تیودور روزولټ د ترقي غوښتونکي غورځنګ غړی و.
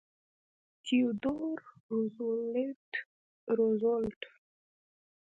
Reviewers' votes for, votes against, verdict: 0, 2, rejected